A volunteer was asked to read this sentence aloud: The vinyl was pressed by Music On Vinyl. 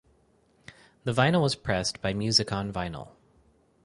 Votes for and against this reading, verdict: 4, 0, accepted